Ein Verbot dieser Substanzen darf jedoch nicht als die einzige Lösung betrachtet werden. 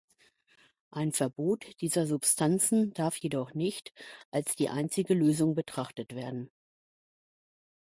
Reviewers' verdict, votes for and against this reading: accepted, 2, 0